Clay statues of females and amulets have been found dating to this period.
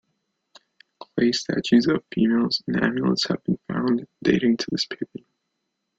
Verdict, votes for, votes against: rejected, 0, 2